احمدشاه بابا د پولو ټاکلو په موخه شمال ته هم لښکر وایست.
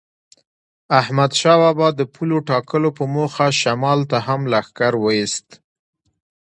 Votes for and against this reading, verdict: 2, 1, accepted